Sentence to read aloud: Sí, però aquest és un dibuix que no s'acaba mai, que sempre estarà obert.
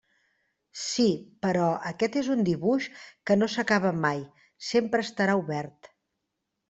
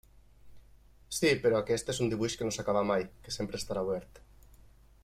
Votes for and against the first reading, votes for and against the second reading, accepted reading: 0, 2, 4, 0, second